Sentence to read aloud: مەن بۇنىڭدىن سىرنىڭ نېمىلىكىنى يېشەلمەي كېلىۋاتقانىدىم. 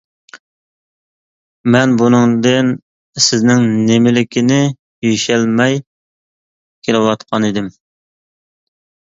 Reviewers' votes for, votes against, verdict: 0, 2, rejected